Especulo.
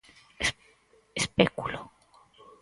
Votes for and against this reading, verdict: 0, 4, rejected